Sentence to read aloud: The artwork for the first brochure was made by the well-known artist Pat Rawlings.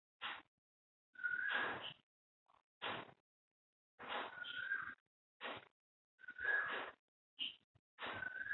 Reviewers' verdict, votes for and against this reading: rejected, 0, 2